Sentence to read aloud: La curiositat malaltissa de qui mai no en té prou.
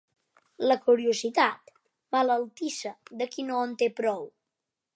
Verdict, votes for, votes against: rejected, 1, 2